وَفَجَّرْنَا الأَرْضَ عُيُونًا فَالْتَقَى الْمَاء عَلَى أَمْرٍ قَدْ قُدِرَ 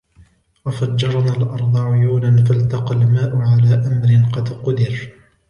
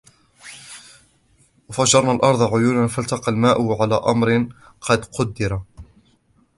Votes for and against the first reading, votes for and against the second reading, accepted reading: 2, 0, 0, 2, first